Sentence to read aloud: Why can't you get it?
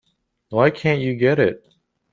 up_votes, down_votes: 2, 0